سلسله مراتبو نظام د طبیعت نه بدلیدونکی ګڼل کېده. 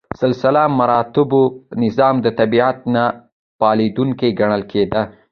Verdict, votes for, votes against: rejected, 0, 2